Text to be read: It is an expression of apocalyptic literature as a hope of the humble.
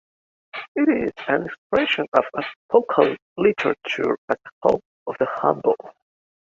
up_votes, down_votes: 0, 2